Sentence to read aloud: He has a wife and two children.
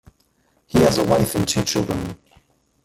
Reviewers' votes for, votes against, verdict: 0, 2, rejected